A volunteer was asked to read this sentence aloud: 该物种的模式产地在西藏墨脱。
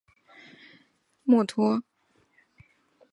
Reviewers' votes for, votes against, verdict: 0, 4, rejected